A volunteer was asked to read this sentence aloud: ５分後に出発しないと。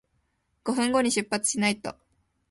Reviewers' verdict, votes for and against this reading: rejected, 0, 2